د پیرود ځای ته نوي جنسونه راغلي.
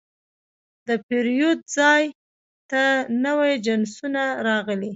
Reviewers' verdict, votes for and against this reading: accepted, 2, 0